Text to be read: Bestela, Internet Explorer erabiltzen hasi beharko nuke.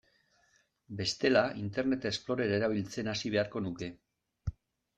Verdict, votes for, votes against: accepted, 2, 0